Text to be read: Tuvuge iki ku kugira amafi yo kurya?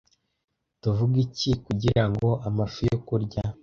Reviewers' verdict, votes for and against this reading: rejected, 0, 2